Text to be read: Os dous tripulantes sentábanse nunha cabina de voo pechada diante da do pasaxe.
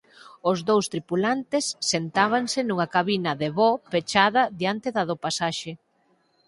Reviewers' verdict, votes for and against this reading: accepted, 8, 0